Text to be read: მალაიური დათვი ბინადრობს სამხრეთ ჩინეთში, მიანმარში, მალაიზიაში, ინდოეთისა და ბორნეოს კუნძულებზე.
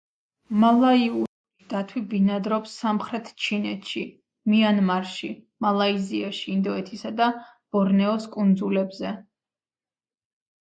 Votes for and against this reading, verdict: 2, 1, accepted